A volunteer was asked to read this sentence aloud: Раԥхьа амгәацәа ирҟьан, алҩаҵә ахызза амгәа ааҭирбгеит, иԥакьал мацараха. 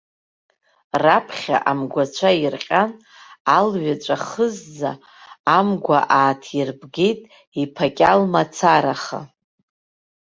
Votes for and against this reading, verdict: 2, 0, accepted